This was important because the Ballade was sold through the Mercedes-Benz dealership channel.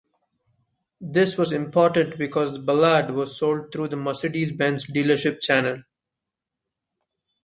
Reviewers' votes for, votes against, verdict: 1, 2, rejected